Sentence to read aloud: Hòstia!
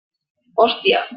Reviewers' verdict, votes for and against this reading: accepted, 3, 0